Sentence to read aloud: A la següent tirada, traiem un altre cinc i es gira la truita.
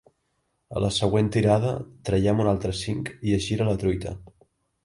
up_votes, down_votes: 2, 0